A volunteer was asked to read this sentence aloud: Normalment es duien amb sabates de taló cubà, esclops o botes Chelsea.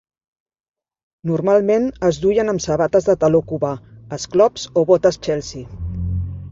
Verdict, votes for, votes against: accepted, 2, 0